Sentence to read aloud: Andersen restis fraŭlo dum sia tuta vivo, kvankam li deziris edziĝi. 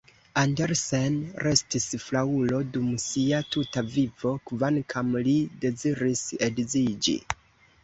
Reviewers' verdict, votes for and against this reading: rejected, 0, 2